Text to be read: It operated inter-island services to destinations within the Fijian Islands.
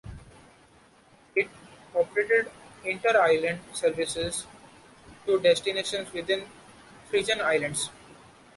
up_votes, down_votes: 0, 2